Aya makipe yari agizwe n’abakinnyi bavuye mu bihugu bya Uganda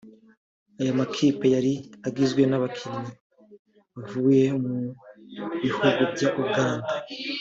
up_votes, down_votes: 1, 2